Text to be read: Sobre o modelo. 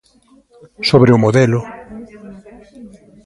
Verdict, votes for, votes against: accepted, 2, 0